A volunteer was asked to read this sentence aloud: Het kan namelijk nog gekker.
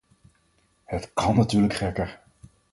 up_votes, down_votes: 0, 4